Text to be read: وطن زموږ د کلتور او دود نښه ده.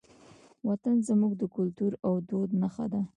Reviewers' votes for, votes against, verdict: 1, 2, rejected